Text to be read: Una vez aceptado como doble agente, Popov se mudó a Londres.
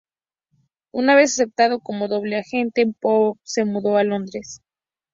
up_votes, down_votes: 0, 2